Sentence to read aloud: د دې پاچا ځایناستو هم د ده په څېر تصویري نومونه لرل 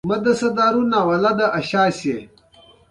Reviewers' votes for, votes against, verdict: 1, 2, rejected